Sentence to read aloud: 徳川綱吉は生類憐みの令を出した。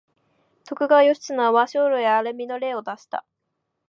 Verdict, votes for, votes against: rejected, 0, 2